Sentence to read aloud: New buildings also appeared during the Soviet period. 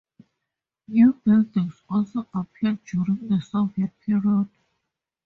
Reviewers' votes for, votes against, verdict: 2, 2, rejected